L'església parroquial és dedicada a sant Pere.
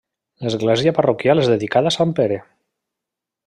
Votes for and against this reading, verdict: 3, 0, accepted